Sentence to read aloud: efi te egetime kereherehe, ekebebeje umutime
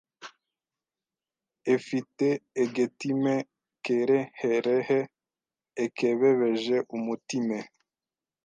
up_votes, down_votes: 0, 2